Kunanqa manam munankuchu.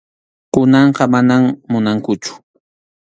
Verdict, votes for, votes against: accepted, 2, 0